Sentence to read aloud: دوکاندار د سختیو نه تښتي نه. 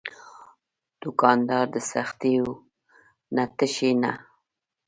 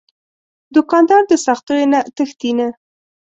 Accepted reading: second